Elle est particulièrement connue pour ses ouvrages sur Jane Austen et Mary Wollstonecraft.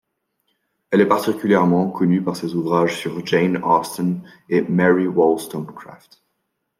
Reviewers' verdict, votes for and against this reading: rejected, 0, 2